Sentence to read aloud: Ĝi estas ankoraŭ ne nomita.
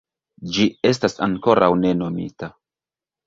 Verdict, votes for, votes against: rejected, 1, 2